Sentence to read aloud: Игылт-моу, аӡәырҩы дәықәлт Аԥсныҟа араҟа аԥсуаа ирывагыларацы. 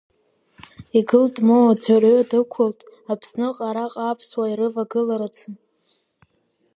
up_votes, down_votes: 2, 0